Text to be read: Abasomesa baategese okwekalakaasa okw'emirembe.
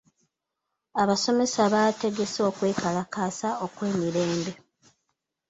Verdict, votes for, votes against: accepted, 2, 0